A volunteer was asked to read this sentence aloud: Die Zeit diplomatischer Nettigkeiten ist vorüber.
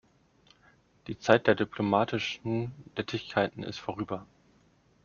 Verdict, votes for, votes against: rejected, 0, 2